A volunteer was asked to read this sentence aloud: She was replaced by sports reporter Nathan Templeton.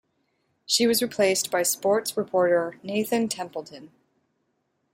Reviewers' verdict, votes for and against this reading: accepted, 2, 0